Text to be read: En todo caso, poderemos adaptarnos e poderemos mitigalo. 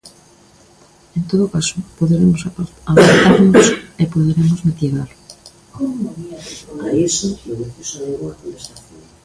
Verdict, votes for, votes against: rejected, 0, 2